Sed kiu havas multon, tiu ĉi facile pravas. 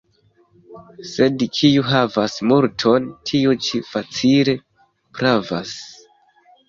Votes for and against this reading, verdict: 2, 0, accepted